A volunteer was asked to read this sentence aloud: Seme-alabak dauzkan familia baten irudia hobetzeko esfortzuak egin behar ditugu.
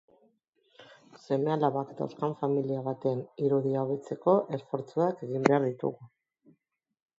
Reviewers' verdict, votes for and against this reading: accepted, 2, 0